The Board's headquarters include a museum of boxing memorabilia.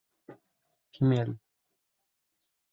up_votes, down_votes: 0, 2